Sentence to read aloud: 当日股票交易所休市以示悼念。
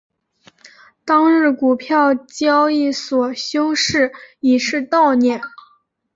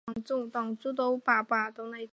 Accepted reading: first